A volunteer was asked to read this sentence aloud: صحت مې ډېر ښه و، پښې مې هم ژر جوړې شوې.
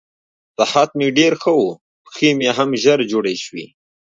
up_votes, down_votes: 1, 2